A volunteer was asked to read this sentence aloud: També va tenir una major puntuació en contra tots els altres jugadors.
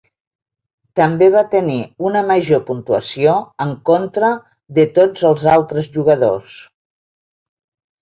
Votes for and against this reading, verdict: 0, 2, rejected